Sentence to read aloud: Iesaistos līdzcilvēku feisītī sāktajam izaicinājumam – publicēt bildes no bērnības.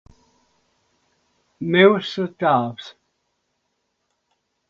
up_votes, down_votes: 0, 2